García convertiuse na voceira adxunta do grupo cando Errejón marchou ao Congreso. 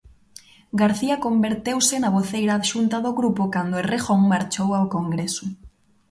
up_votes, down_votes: 1, 3